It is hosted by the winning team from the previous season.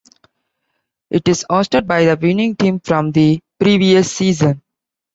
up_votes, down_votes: 2, 1